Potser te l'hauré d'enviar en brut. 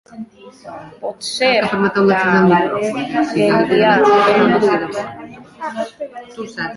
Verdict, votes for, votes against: rejected, 0, 2